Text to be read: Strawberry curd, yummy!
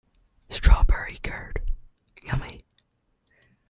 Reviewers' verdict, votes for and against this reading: rejected, 1, 2